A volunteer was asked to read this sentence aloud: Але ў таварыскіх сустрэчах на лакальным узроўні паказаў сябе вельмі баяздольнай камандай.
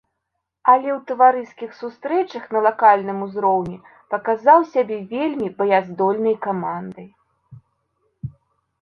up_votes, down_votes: 2, 0